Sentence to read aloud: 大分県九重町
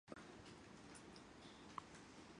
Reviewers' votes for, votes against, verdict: 0, 2, rejected